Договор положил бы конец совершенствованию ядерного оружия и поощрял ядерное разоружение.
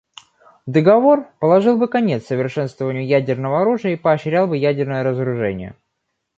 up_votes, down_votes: 1, 2